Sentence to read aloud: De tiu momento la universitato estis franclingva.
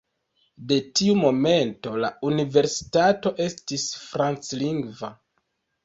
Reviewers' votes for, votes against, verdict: 2, 1, accepted